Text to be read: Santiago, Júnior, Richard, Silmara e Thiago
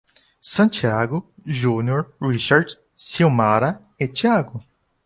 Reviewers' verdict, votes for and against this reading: accepted, 2, 0